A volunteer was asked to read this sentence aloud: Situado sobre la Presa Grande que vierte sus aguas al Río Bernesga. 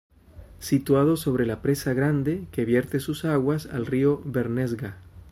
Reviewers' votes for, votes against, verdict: 2, 0, accepted